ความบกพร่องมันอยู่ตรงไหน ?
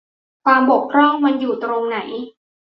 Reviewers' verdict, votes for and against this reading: accepted, 2, 0